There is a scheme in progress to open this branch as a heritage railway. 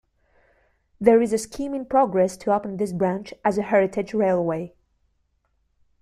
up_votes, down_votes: 2, 0